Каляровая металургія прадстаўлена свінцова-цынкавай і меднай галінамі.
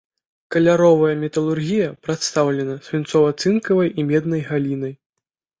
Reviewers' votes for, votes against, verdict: 0, 2, rejected